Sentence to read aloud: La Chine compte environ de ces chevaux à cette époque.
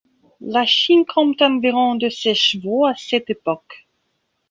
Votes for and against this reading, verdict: 2, 0, accepted